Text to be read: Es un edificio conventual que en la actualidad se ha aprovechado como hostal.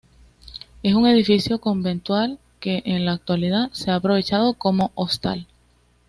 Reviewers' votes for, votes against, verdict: 2, 0, accepted